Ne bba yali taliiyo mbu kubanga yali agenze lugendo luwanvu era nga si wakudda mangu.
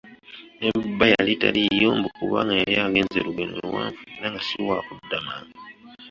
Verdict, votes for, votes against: rejected, 0, 2